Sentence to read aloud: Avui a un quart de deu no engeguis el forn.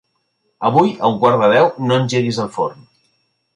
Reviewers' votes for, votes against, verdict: 2, 0, accepted